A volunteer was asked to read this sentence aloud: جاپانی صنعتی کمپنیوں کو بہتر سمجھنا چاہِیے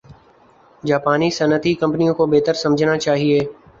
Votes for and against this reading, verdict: 3, 0, accepted